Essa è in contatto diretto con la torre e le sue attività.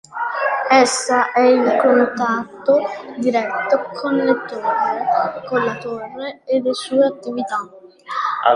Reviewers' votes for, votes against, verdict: 0, 2, rejected